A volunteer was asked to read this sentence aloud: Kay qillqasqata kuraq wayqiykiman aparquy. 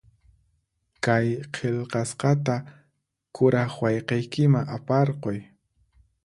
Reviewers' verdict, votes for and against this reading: accepted, 4, 0